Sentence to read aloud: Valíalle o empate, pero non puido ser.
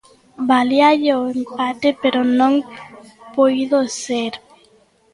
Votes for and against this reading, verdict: 0, 2, rejected